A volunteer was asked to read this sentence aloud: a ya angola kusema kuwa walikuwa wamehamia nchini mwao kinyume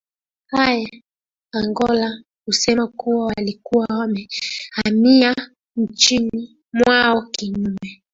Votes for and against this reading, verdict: 0, 2, rejected